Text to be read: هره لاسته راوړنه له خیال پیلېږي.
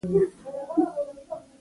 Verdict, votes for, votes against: accepted, 2, 1